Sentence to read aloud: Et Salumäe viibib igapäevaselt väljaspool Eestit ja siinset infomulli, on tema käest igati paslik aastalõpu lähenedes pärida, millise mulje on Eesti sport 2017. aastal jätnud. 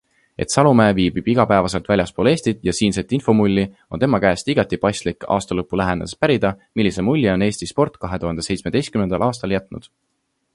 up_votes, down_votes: 0, 2